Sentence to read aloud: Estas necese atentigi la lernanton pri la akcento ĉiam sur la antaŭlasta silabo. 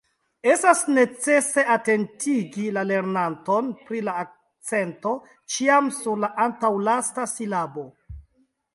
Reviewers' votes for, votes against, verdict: 2, 0, accepted